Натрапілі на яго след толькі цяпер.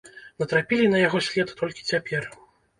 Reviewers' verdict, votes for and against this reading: rejected, 0, 2